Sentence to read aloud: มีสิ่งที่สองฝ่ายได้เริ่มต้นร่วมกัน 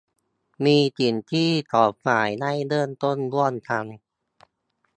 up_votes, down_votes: 2, 0